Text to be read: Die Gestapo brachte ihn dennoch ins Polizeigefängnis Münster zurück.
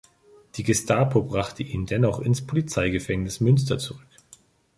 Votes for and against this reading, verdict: 3, 0, accepted